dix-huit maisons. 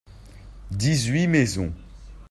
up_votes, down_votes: 2, 0